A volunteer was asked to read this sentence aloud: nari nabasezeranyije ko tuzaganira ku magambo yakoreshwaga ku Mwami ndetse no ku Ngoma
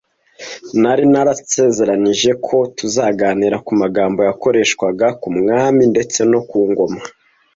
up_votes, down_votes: 0, 2